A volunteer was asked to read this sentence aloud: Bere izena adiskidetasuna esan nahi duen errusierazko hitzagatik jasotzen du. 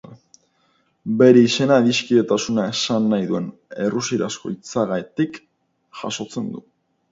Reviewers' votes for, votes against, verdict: 0, 2, rejected